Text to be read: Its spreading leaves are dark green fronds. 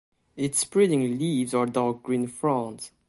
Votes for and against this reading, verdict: 2, 0, accepted